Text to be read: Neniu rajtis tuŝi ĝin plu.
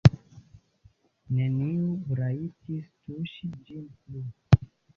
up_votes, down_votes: 0, 2